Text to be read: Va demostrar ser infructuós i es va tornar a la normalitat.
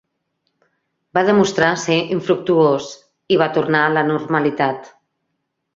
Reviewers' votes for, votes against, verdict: 0, 2, rejected